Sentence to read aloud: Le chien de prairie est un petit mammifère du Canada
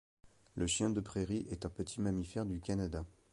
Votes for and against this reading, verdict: 2, 0, accepted